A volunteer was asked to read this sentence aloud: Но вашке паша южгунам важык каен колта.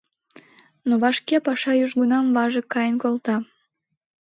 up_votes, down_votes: 2, 0